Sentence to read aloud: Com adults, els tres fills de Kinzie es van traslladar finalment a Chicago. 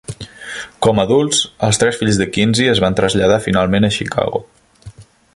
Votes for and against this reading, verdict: 2, 0, accepted